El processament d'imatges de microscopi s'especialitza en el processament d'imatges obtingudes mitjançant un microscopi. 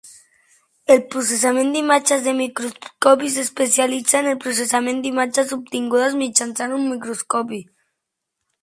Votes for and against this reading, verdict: 2, 1, accepted